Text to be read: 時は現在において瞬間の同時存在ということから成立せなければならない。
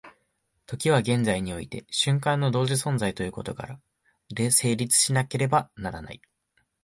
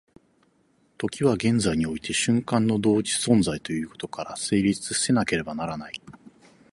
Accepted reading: second